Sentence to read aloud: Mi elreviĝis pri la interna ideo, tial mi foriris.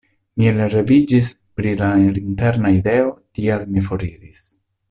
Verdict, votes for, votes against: accepted, 2, 1